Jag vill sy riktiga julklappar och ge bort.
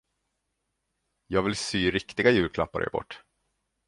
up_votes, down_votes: 2, 0